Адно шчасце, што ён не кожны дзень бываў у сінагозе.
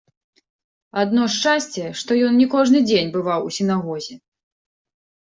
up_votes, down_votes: 3, 0